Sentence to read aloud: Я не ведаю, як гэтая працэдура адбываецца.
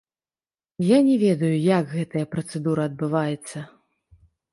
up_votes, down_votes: 1, 2